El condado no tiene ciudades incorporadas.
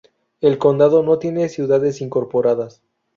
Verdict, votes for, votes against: accepted, 2, 0